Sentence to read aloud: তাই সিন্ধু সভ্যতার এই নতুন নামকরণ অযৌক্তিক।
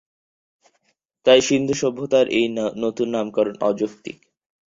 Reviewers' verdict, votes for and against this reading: rejected, 0, 4